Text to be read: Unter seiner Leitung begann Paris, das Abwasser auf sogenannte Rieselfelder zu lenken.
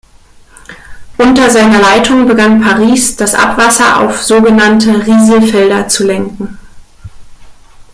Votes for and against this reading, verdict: 2, 0, accepted